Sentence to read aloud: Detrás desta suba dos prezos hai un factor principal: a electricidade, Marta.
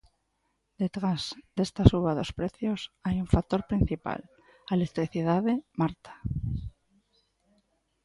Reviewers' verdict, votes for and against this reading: rejected, 1, 2